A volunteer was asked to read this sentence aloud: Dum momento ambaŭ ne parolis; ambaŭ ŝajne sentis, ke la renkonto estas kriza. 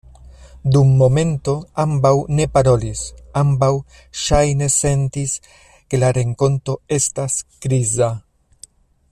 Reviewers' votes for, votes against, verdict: 2, 0, accepted